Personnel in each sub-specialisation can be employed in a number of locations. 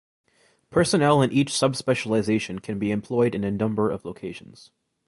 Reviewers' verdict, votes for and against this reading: accepted, 3, 0